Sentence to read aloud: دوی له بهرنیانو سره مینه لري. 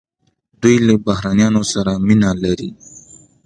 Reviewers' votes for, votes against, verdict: 2, 0, accepted